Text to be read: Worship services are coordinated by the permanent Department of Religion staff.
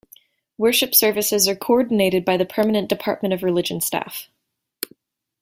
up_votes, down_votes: 2, 0